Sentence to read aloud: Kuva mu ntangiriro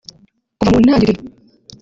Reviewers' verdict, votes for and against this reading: rejected, 1, 2